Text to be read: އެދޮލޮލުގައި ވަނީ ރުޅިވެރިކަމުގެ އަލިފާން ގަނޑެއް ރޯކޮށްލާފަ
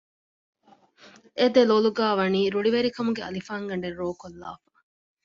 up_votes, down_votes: 2, 0